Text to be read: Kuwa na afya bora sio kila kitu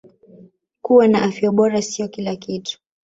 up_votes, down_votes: 3, 0